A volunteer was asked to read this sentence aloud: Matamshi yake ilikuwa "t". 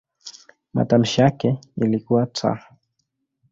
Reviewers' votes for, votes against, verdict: 2, 0, accepted